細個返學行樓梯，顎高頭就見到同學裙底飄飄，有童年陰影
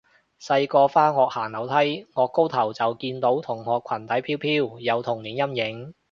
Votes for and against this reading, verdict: 2, 0, accepted